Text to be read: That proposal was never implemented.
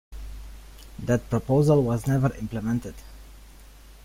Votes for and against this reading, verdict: 2, 0, accepted